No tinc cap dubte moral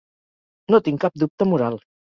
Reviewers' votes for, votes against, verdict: 3, 0, accepted